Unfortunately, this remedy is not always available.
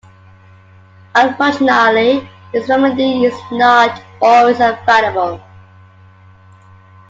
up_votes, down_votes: 2, 1